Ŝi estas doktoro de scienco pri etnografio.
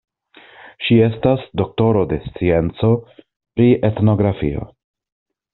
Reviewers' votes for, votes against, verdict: 2, 0, accepted